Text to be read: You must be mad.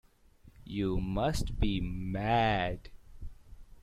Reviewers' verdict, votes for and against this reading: accepted, 2, 0